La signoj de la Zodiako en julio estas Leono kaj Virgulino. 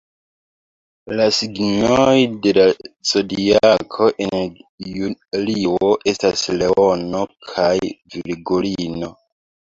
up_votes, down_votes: 0, 2